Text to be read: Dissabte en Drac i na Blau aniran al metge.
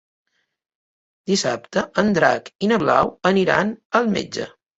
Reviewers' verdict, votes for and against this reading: accepted, 2, 0